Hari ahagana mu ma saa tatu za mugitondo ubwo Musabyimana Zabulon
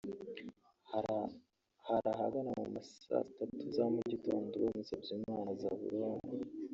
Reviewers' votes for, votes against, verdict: 0, 2, rejected